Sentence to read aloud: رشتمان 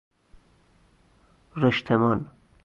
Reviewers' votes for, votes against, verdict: 0, 2, rejected